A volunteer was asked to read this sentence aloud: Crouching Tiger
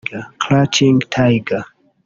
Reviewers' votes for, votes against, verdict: 1, 2, rejected